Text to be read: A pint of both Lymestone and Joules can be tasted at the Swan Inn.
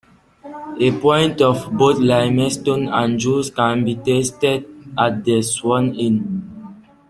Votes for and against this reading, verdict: 2, 0, accepted